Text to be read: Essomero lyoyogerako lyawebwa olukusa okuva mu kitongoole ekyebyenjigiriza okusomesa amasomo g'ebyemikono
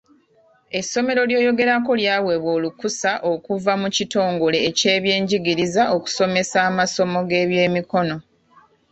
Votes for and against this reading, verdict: 1, 2, rejected